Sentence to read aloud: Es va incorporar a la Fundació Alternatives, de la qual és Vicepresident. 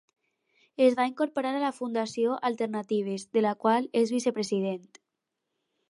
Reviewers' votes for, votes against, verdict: 4, 0, accepted